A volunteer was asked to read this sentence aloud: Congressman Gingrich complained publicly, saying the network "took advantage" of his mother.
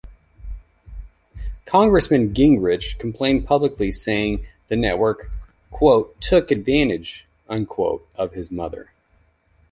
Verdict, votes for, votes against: rejected, 1, 2